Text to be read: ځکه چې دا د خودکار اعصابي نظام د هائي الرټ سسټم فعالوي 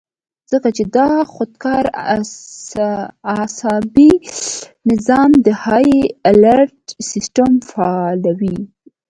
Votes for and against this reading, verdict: 1, 2, rejected